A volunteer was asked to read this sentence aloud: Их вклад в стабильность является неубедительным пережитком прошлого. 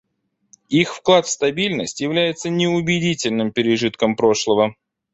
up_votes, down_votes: 2, 0